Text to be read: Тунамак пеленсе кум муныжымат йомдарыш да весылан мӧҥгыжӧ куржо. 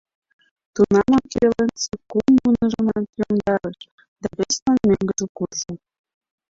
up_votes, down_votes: 0, 2